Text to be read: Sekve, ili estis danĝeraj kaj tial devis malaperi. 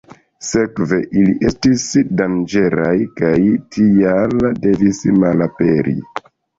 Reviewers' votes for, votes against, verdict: 2, 1, accepted